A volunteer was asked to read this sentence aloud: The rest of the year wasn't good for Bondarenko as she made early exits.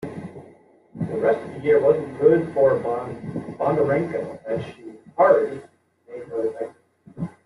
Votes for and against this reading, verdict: 0, 2, rejected